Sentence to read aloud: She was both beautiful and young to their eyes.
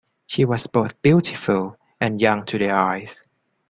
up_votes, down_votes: 2, 0